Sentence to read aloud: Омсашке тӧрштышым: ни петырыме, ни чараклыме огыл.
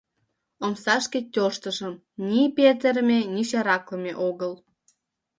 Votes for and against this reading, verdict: 0, 2, rejected